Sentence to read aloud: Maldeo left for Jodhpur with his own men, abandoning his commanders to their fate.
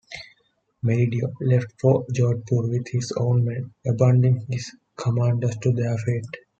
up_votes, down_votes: 2, 1